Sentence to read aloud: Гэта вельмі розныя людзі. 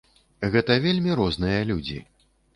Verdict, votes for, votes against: accepted, 2, 0